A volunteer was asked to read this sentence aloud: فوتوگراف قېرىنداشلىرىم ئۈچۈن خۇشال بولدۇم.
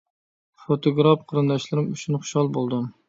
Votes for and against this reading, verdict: 2, 0, accepted